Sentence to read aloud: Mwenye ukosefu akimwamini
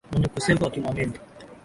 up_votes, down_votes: 2, 2